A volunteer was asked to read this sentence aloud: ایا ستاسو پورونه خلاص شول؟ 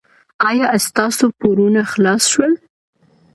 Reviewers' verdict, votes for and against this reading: accepted, 2, 0